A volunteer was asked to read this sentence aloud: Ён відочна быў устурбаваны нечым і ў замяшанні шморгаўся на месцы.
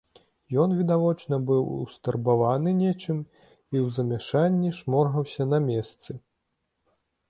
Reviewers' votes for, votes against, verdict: 1, 2, rejected